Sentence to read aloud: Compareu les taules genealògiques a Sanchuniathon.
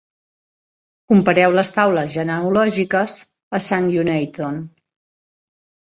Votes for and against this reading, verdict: 1, 2, rejected